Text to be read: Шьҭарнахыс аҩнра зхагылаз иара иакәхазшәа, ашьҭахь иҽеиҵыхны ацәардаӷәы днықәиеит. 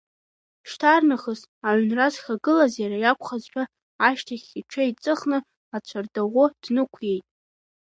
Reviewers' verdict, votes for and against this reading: accepted, 2, 0